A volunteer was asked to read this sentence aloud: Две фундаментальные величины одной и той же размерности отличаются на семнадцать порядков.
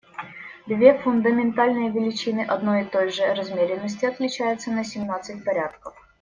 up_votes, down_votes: 1, 2